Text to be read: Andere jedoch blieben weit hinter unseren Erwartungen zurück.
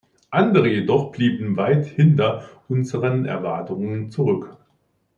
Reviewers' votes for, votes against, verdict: 2, 0, accepted